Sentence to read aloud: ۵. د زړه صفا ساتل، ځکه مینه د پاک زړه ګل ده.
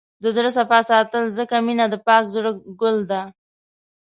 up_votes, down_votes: 0, 2